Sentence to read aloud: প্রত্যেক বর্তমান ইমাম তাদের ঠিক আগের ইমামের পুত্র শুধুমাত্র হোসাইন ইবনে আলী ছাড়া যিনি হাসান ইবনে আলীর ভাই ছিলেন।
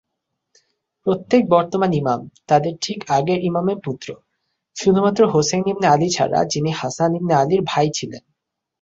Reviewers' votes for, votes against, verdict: 3, 0, accepted